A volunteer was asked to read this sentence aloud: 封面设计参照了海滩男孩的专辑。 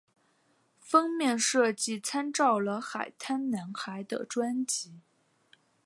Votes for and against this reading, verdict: 3, 0, accepted